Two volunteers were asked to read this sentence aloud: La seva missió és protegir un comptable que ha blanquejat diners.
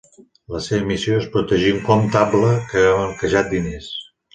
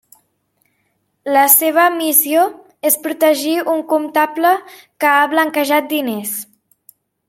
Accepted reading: second